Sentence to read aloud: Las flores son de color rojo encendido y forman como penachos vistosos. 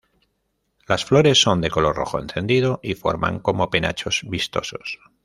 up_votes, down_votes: 2, 0